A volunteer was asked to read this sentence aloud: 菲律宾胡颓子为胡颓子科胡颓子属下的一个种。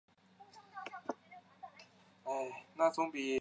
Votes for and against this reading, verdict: 0, 2, rejected